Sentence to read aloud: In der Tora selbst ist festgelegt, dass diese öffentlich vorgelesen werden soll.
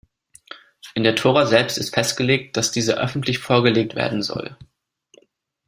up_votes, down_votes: 0, 2